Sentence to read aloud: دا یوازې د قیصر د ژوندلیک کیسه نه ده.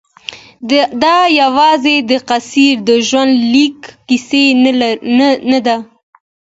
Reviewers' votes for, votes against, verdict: 1, 2, rejected